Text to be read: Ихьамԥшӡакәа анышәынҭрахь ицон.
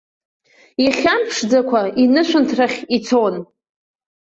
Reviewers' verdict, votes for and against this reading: rejected, 1, 2